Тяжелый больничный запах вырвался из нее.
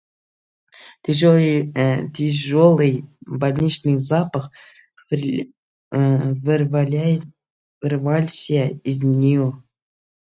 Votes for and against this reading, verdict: 0, 2, rejected